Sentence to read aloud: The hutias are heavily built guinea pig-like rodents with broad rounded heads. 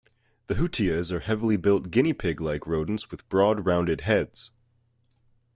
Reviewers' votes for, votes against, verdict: 2, 0, accepted